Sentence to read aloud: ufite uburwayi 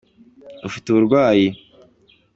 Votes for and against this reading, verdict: 2, 0, accepted